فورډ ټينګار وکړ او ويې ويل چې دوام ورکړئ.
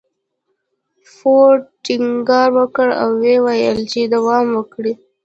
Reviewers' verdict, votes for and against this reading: rejected, 1, 2